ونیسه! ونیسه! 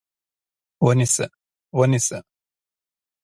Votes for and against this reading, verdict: 2, 0, accepted